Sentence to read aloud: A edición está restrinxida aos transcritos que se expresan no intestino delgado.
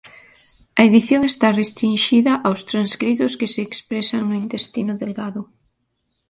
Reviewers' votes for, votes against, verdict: 2, 1, accepted